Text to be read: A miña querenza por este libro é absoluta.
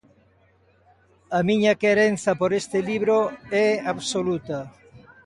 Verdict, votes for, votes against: accepted, 2, 0